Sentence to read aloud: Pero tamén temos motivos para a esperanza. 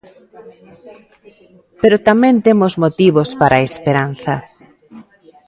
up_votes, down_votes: 2, 1